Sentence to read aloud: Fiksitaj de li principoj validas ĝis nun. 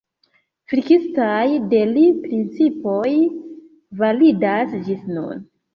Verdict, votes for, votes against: rejected, 1, 2